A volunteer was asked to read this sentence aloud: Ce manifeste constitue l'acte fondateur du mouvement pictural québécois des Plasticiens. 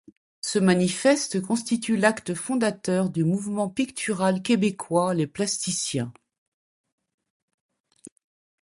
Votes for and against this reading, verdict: 1, 2, rejected